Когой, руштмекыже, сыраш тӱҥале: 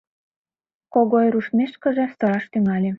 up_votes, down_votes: 1, 3